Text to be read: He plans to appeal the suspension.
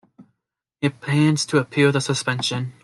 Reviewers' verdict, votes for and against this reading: accepted, 2, 1